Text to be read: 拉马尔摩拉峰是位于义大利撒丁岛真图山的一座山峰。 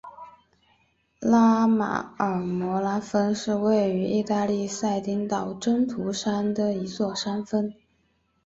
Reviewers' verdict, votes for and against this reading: accepted, 2, 1